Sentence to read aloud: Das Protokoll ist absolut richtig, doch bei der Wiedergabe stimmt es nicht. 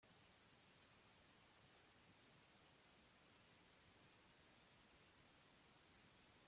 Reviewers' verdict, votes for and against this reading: rejected, 0, 2